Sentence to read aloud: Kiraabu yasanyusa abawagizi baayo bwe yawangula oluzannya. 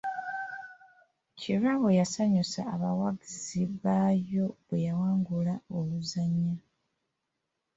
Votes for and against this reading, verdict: 1, 2, rejected